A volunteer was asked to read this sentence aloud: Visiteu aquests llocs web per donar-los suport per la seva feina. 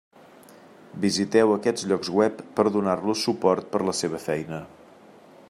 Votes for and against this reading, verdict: 3, 0, accepted